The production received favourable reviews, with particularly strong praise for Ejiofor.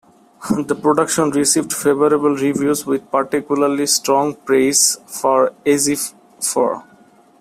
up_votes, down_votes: 0, 2